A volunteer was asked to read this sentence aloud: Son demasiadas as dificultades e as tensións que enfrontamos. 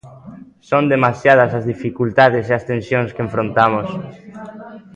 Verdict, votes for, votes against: accepted, 2, 1